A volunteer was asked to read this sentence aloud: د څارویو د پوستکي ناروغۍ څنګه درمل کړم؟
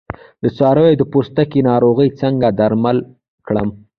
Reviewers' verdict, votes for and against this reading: rejected, 1, 2